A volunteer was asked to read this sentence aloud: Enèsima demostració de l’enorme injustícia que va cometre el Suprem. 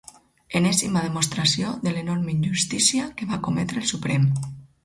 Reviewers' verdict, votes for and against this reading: accepted, 4, 0